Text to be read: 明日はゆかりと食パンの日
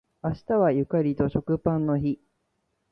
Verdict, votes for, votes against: accepted, 2, 0